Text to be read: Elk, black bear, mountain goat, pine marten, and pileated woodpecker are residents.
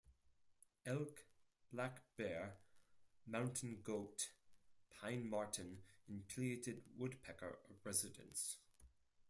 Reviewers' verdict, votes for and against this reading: rejected, 2, 4